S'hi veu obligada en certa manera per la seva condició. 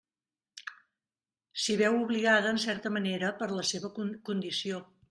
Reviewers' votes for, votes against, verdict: 0, 2, rejected